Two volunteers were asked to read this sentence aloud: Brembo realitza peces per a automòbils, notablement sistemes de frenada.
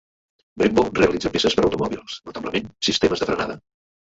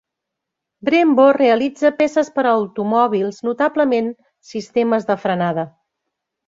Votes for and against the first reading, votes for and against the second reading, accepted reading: 1, 2, 3, 0, second